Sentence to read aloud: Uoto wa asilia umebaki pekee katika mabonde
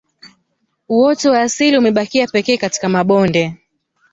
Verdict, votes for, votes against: accepted, 2, 0